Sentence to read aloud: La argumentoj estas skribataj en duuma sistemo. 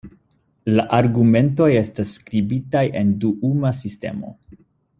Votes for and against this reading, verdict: 2, 1, accepted